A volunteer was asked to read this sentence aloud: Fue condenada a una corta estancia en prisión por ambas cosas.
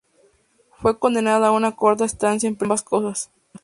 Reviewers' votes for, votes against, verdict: 0, 2, rejected